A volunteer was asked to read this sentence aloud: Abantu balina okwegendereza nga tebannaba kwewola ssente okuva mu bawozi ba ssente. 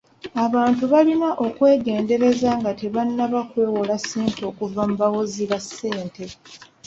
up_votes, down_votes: 1, 2